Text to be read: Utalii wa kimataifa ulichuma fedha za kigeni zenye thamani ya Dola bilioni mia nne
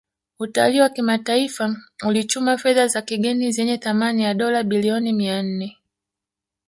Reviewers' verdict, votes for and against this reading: rejected, 1, 2